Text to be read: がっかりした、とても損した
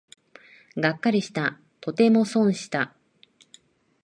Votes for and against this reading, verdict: 2, 0, accepted